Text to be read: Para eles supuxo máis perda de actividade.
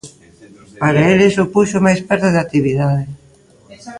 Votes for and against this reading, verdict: 1, 2, rejected